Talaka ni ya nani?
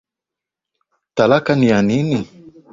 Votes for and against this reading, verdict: 12, 5, accepted